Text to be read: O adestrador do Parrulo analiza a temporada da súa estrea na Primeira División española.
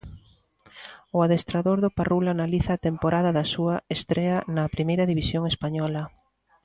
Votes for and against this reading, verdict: 2, 0, accepted